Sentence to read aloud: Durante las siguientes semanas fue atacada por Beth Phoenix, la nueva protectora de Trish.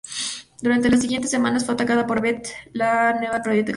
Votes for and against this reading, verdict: 0, 2, rejected